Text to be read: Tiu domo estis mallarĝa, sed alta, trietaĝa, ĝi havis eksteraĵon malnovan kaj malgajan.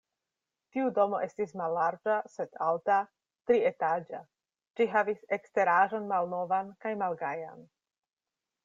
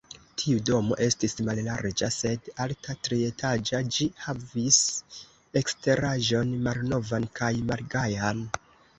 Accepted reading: first